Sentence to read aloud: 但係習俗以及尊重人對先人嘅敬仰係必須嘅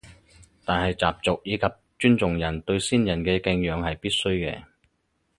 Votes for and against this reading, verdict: 4, 0, accepted